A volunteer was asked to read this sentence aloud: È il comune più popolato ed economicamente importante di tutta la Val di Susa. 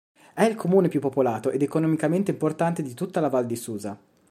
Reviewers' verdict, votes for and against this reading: accepted, 2, 0